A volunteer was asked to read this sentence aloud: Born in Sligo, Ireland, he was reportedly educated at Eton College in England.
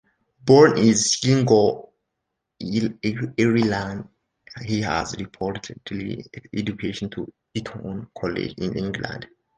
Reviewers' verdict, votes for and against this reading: rejected, 1, 2